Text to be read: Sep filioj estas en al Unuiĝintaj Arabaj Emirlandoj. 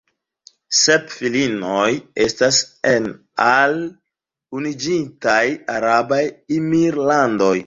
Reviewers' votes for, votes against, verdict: 0, 2, rejected